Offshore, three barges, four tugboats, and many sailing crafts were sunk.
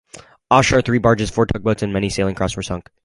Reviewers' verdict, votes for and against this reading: rejected, 2, 2